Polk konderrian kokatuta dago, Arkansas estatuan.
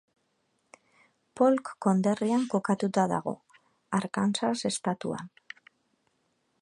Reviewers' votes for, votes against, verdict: 2, 0, accepted